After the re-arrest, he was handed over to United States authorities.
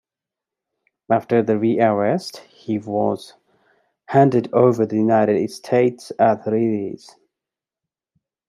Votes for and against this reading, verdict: 1, 2, rejected